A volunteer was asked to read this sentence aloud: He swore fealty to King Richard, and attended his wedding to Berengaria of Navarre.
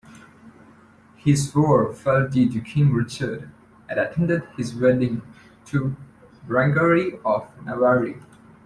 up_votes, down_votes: 0, 2